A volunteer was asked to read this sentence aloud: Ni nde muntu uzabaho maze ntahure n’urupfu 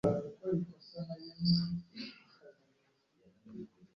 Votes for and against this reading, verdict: 1, 2, rejected